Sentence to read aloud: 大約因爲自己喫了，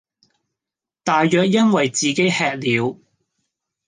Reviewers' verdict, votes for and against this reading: accepted, 2, 1